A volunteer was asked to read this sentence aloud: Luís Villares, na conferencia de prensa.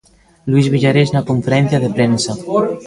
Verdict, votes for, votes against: accepted, 2, 0